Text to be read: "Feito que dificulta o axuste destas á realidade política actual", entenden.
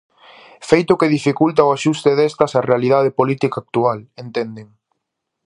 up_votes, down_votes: 2, 0